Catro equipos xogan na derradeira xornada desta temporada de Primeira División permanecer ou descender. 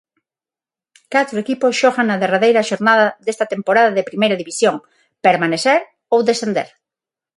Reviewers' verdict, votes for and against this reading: accepted, 6, 0